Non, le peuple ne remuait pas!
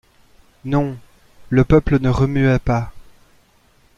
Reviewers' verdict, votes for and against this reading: rejected, 0, 2